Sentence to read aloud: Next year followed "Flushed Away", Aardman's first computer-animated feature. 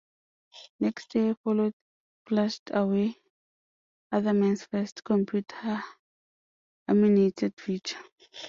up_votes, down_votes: 0, 2